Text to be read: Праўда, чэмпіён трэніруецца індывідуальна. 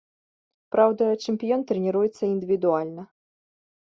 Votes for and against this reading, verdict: 2, 0, accepted